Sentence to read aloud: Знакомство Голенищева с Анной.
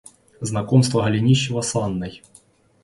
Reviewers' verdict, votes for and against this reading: accepted, 2, 0